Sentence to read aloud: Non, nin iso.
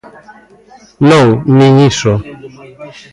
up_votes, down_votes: 1, 2